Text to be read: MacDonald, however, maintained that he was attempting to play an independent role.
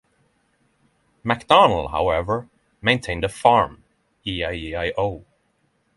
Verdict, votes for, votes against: rejected, 0, 3